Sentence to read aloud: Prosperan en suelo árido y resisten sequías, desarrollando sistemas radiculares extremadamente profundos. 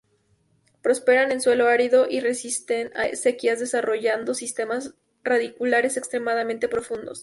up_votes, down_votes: 0, 2